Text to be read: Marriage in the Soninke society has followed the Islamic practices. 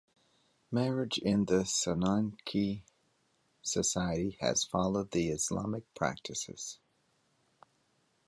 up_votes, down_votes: 0, 2